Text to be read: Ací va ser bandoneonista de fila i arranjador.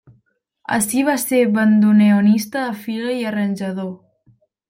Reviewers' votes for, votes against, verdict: 1, 2, rejected